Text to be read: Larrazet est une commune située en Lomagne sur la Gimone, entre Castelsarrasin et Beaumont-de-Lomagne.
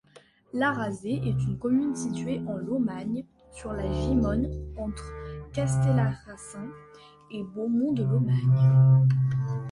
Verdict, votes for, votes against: rejected, 0, 2